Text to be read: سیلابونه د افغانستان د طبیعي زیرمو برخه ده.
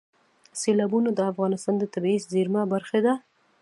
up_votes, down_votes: 1, 2